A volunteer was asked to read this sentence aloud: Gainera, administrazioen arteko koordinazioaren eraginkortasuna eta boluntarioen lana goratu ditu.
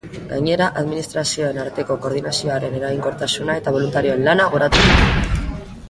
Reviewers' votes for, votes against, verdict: 0, 2, rejected